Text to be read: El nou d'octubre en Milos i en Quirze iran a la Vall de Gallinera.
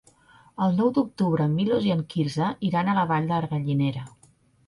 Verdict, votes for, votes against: accepted, 2, 1